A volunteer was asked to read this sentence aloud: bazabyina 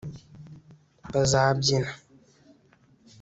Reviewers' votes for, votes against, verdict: 2, 0, accepted